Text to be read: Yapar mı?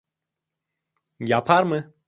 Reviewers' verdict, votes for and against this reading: accepted, 2, 0